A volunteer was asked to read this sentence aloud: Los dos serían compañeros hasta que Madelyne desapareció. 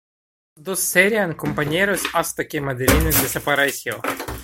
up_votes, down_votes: 0, 2